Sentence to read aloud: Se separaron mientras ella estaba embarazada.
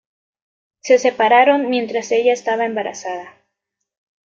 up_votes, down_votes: 2, 0